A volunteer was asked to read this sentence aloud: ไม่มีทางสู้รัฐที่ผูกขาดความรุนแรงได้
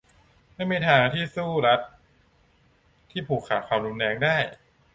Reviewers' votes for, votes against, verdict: 1, 2, rejected